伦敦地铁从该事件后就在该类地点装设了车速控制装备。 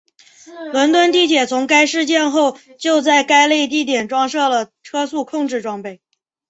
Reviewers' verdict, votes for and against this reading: accepted, 2, 0